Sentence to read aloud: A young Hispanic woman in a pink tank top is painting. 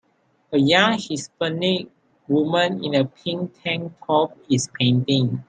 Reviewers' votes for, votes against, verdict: 0, 2, rejected